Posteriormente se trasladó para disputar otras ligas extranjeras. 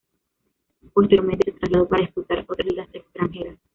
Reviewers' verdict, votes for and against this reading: rejected, 1, 2